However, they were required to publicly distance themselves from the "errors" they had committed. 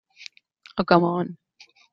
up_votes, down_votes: 0, 2